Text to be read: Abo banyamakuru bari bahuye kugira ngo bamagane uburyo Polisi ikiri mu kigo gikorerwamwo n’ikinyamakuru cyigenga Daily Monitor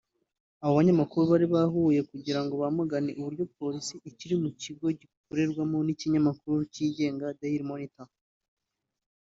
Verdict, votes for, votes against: accepted, 3, 1